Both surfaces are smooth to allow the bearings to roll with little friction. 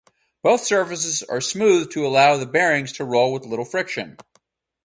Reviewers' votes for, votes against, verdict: 4, 0, accepted